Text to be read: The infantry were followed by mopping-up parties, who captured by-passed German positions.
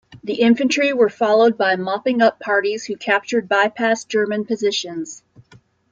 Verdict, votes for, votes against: accepted, 2, 0